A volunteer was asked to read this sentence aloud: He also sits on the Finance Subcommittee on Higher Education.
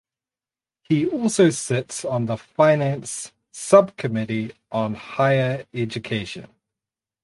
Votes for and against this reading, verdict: 4, 0, accepted